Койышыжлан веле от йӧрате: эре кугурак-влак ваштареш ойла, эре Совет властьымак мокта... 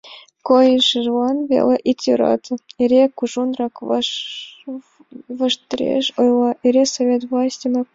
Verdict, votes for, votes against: rejected, 1, 2